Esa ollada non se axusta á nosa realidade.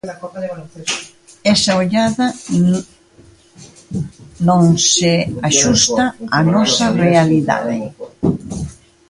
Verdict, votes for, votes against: rejected, 0, 2